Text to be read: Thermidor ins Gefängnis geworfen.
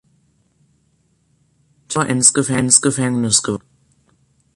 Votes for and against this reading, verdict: 0, 3, rejected